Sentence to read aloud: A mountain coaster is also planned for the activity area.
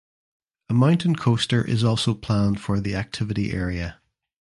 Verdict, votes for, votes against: accepted, 2, 0